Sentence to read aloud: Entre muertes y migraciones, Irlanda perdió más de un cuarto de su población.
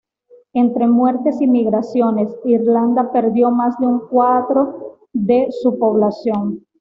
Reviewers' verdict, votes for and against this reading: rejected, 1, 2